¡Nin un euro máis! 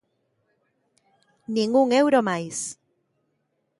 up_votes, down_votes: 2, 0